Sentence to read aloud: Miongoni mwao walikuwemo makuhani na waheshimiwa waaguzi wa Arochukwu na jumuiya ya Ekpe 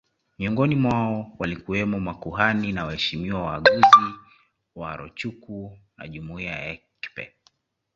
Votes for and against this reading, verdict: 2, 0, accepted